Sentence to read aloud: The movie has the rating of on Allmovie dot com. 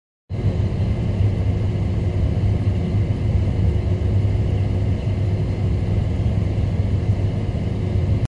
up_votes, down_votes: 0, 2